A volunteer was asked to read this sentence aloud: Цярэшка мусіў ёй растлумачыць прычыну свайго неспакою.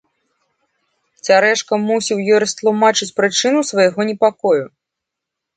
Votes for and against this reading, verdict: 1, 2, rejected